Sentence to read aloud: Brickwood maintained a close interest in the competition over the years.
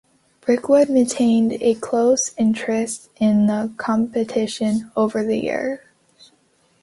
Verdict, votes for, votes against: accepted, 3, 1